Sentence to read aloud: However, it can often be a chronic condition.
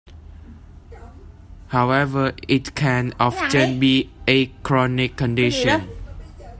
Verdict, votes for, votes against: rejected, 0, 2